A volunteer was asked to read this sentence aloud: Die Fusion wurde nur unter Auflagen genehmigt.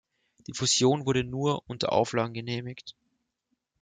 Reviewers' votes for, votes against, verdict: 0, 2, rejected